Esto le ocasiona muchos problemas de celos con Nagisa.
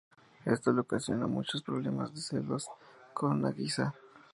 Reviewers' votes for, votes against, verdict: 2, 0, accepted